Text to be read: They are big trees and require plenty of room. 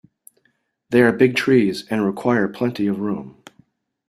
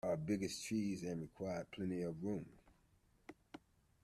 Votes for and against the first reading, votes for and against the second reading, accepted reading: 2, 0, 0, 2, first